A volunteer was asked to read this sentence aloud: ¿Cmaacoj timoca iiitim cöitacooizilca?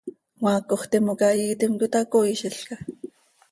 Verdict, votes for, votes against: accepted, 2, 0